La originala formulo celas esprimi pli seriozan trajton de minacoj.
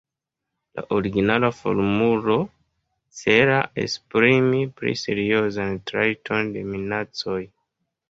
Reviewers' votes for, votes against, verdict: 2, 0, accepted